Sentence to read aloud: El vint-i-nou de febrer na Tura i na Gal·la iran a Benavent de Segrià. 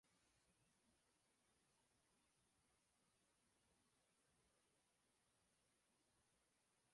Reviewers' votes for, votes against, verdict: 0, 2, rejected